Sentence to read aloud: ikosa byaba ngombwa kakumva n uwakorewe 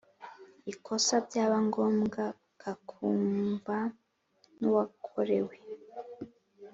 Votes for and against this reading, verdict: 3, 0, accepted